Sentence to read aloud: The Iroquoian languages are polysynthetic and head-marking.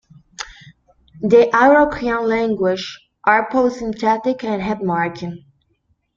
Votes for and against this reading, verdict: 1, 2, rejected